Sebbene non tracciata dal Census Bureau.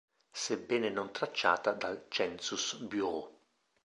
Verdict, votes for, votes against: accepted, 3, 1